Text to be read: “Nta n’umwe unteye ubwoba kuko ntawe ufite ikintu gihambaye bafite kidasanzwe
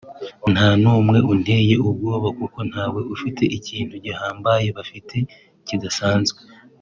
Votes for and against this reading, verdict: 3, 1, accepted